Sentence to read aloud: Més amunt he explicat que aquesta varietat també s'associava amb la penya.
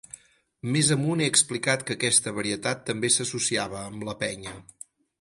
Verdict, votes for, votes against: accepted, 6, 0